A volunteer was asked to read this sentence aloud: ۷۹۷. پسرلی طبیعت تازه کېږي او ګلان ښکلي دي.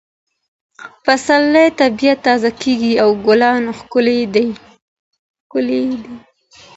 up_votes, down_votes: 0, 2